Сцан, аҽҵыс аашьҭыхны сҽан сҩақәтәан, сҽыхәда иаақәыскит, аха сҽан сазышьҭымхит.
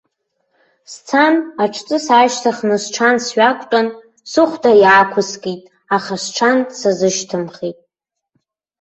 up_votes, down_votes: 0, 2